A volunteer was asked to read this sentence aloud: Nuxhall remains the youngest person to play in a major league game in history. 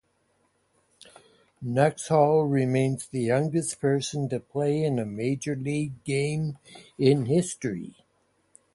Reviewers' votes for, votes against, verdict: 4, 0, accepted